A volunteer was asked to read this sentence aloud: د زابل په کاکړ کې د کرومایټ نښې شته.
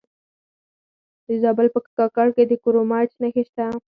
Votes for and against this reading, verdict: 4, 0, accepted